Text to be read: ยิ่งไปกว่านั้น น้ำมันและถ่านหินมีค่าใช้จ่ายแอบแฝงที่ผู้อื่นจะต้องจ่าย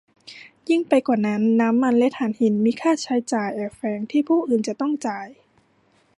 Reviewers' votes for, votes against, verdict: 2, 0, accepted